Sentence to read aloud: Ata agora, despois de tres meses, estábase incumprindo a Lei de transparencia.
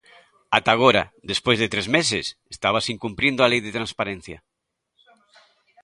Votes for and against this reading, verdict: 2, 0, accepted